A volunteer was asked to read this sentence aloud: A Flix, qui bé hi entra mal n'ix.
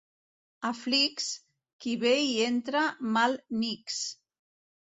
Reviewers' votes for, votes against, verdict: 1, 2, rejected